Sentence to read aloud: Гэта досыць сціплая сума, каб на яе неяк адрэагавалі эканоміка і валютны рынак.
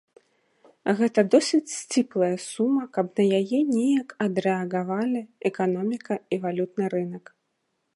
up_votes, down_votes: 1, 2